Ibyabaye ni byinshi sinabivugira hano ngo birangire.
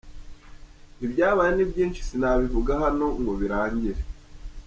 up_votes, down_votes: 0, 2